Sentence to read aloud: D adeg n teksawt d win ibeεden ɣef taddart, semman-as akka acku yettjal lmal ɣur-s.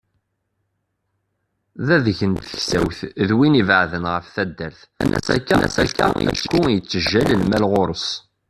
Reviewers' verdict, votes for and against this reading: rejected, 0, 2